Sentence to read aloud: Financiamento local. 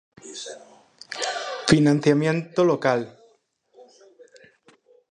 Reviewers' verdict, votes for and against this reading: rejected, 0, 4